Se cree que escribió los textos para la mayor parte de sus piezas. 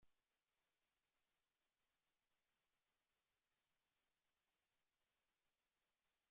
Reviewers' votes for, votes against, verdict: 0, 2, rejected